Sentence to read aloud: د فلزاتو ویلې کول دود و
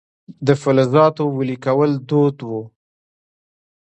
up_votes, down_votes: 1, 2